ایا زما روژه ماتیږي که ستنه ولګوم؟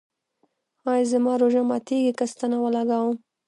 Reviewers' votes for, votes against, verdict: 0, 2, rejected